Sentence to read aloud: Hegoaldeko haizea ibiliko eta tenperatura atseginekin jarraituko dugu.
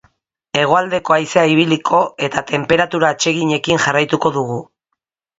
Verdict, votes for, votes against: accepted, 2, 0